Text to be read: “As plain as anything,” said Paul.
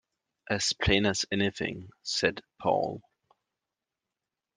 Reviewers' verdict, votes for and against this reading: accepted, 2, 0